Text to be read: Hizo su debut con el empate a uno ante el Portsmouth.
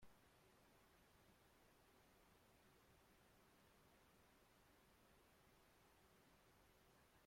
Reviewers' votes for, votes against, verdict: 0, 2, rejected